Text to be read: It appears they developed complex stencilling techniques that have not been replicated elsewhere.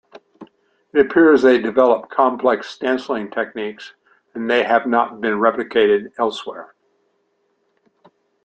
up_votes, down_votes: 1, 2